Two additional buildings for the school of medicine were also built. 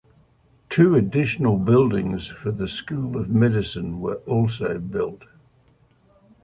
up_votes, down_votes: 2, 0